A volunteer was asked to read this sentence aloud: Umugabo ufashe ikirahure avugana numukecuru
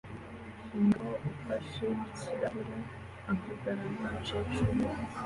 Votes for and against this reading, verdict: 2, 1, accepted